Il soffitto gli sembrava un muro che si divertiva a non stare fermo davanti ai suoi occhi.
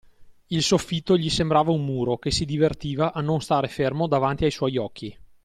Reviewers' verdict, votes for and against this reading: accepted, 2, 0